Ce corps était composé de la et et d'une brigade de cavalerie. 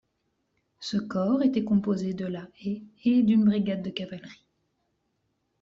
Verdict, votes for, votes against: rejected, 1, 2